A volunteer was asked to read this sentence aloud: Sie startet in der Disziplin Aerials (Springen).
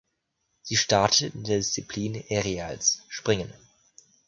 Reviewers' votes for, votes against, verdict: 2, 0, accepted